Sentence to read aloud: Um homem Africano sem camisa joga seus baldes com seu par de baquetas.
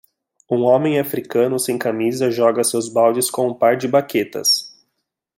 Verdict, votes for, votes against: rejected, 0, 2